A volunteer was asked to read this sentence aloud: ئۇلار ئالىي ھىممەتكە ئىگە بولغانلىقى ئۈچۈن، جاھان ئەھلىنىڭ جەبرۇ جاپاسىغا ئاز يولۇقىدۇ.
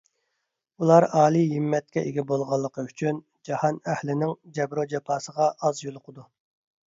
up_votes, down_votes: 2, 0